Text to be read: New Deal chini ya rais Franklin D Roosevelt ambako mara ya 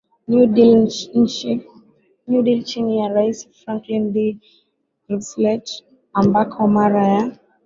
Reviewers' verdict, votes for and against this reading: accepted, 6, 5